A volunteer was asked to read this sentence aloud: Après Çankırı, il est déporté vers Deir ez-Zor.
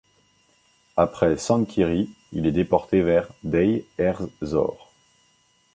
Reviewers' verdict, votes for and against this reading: rejected, 1, 2